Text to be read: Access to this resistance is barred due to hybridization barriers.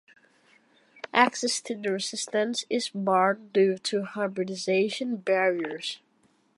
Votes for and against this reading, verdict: 1, 2, rejected